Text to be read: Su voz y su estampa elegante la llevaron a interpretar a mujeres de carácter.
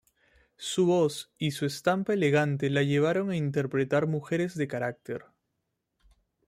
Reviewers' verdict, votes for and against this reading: rejected, 1, 2